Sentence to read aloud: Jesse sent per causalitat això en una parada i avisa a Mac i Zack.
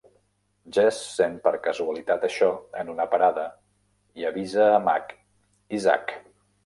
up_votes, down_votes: 2, 0